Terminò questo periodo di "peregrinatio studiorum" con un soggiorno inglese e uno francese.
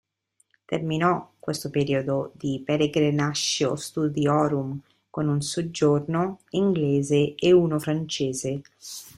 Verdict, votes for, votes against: rejected, 1, 2